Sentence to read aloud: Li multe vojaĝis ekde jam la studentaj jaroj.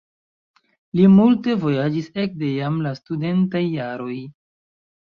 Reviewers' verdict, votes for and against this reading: accepted, 2, 0